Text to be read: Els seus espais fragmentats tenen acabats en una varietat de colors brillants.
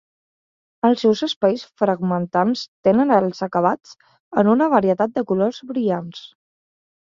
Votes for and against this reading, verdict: 1, 2, rejected